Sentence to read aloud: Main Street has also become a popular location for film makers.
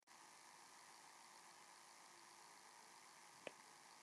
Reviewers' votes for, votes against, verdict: 0, 2, rejected